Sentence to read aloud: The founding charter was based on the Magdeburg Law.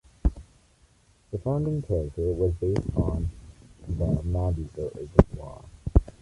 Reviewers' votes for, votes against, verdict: 1, 2, rejected